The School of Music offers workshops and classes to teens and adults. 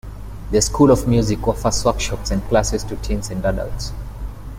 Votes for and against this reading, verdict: 1, 2, rejected